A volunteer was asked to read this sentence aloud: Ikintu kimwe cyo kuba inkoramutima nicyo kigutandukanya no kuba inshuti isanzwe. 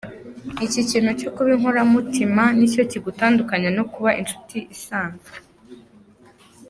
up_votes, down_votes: 2, 0